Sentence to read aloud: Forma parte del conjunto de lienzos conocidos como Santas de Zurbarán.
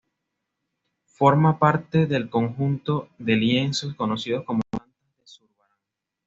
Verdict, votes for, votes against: rejected, 1, 2